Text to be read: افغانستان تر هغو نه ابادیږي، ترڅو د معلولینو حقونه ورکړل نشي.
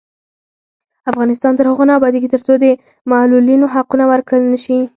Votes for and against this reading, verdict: 0, 4, rejected